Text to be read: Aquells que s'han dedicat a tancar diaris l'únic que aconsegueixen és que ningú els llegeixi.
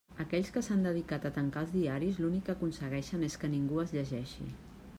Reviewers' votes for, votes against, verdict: 0, 2, rejected